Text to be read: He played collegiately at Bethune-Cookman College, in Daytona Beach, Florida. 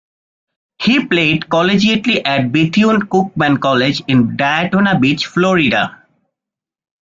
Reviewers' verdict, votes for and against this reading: accepted, 2, 0